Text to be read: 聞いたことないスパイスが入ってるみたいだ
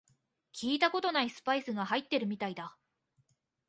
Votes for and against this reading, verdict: 2, 0, accepted